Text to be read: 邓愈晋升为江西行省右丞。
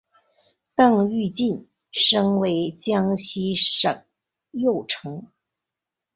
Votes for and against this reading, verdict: 2, 0, accepted